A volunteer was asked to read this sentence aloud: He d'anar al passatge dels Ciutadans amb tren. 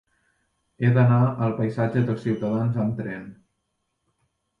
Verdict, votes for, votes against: rejected, 0, 2